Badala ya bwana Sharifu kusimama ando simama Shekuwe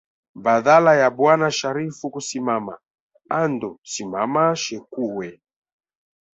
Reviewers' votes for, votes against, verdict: 1, 2, rejected